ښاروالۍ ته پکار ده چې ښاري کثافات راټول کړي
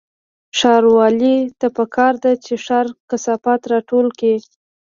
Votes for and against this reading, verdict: 2, 0, accepted